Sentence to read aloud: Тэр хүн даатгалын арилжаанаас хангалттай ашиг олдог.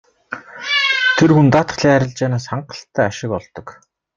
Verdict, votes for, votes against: accepted, 2, 0